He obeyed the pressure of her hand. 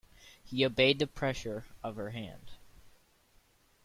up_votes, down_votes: 2, 0